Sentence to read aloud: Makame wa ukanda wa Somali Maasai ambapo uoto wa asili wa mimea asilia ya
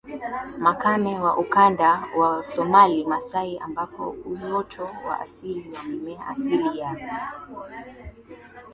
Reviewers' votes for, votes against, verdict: 2, 0, accepted